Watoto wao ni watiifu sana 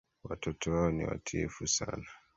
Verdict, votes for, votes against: accepted, 2, 0